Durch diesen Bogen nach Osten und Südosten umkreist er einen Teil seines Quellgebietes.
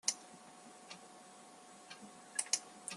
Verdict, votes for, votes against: rejected, 0, 2